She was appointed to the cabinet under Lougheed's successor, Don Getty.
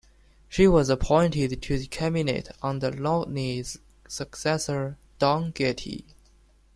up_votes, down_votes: 2, 0